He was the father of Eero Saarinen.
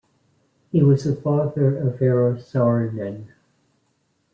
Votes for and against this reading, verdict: 1, 3, rejected